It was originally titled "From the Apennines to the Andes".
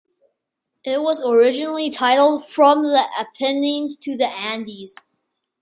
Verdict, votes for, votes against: accepted, 2, 0